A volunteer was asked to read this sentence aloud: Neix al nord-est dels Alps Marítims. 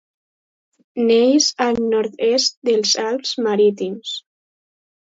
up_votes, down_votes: 4, 0